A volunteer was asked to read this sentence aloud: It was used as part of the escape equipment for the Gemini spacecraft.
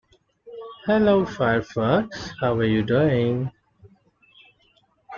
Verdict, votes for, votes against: rejected, 0, 3